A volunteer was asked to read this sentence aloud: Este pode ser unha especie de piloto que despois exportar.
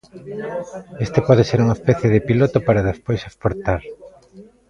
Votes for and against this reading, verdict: 1, 2, rejected